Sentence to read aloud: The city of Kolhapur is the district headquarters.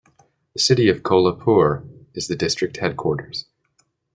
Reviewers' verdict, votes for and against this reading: accepted, 2, 0